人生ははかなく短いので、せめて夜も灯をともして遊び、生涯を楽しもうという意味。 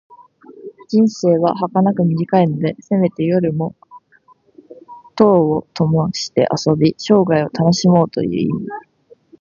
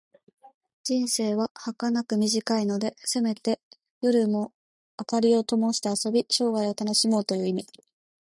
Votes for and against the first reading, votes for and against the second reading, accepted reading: 1, 2, 2, 0, second